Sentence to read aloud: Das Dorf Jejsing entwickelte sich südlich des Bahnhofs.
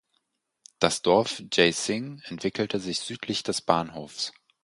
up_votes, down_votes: 4, 0